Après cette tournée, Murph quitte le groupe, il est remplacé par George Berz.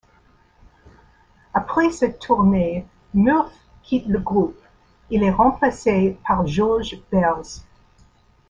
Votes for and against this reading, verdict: 1, 2, rejected